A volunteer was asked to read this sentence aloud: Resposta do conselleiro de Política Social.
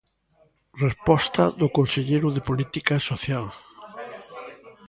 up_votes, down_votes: 1, 2